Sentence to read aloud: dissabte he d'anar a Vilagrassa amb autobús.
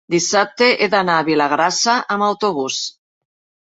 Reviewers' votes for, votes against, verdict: 4, 0, accepted